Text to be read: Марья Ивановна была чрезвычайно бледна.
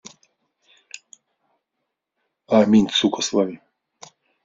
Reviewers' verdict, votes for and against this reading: rejected, 0, 2